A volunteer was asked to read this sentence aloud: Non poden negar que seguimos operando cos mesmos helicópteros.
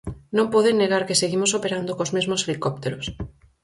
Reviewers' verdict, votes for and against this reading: accepted, 4, 0